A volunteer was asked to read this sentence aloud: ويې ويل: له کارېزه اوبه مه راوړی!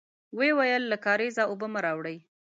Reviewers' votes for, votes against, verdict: 1, 2, rejected